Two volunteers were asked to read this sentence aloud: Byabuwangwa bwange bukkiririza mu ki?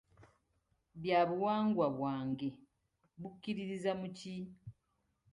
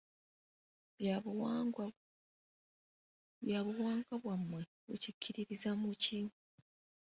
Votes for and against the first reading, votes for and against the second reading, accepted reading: 2, 1, 0, 2, first